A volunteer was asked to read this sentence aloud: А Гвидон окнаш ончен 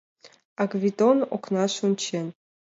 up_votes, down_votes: 2, 0